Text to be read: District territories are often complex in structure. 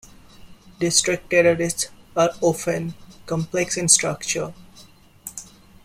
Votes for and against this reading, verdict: 0, 2, rejected